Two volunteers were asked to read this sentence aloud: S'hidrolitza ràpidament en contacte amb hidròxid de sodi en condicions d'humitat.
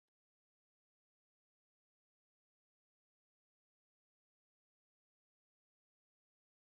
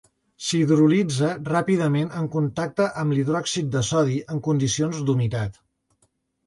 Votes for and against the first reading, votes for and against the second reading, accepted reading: 0, 3, 2, 0, second